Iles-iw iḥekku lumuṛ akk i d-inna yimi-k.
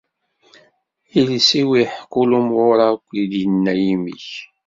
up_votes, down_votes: 2, 0